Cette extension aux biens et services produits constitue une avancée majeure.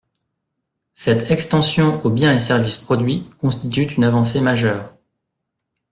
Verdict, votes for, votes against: rejected, 1, 2